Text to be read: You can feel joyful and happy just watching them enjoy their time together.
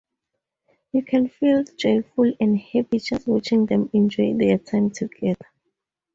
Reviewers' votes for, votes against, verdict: 2, 0, accepted